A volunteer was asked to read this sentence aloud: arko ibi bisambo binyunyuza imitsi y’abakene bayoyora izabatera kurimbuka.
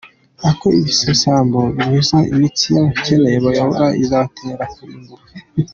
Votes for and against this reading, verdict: 0, 4, rejected